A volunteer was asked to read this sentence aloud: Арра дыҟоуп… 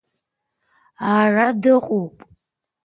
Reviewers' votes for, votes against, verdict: 1, 2, rejected